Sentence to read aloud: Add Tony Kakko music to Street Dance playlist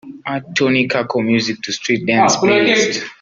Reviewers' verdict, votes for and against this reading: accepted, 3, 0